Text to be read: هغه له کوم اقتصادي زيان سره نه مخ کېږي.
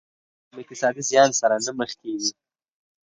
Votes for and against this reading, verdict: 4, 0, accepted